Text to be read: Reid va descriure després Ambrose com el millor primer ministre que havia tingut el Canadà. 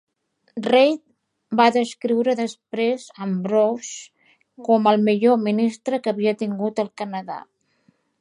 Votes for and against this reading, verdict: 1, 2, rejected